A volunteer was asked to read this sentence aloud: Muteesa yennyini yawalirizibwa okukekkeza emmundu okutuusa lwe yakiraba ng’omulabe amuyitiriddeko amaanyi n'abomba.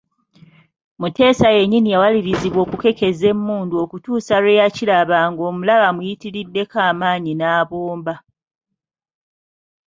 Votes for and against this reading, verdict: 2, 0, accepted